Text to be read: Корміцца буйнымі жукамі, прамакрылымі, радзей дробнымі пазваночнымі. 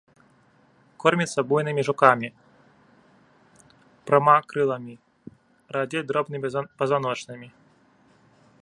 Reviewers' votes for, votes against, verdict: 0, 2, rejected